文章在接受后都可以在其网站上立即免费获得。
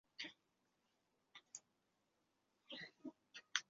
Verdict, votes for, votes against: rejected, 0, 2